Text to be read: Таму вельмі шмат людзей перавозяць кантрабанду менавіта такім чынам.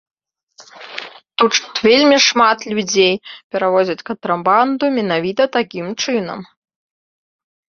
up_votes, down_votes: 1, 2